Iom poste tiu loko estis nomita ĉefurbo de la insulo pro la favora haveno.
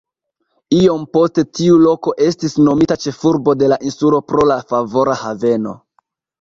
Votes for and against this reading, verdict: 0, 2, rejected